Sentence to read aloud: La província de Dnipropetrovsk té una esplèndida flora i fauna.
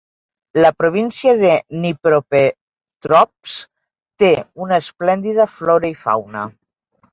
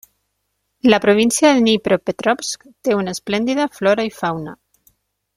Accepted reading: second